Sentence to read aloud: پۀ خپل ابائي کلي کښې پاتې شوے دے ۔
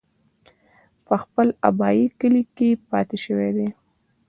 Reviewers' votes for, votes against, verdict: 1, 2, rejected